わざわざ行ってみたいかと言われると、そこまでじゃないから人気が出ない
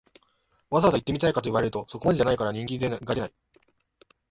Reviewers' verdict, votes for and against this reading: accepted, 2, 0